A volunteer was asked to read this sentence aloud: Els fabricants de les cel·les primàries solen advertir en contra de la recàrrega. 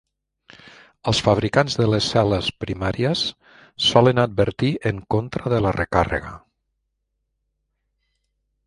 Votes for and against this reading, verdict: 3, 0, accepted